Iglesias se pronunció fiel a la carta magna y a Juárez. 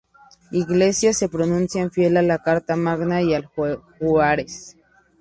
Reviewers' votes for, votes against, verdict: 2, 2, rejected